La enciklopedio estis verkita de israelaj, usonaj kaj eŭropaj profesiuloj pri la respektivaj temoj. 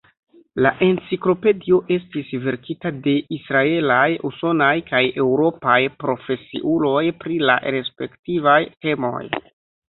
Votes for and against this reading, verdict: 0, 2, rejected